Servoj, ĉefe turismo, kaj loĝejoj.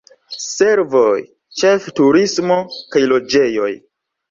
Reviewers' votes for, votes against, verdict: 2, 0, accepted